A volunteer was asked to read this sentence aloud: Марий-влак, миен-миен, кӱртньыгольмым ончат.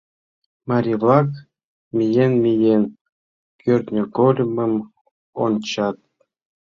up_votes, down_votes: 2, 0